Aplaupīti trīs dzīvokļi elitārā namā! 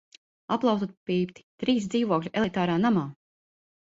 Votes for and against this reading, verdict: 0, 2, rejected